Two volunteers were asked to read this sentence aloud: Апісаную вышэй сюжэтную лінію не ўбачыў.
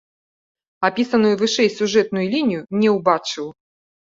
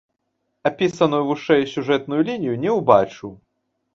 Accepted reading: first